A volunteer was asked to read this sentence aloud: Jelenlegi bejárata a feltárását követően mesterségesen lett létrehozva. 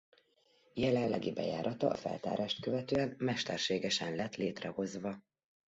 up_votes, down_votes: 0, 2